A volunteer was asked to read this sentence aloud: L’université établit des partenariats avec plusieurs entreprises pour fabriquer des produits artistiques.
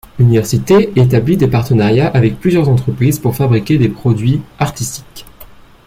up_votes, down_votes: 1, 2